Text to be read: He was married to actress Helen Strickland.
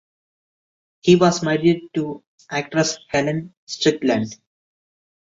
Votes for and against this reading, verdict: 2, 0, accepted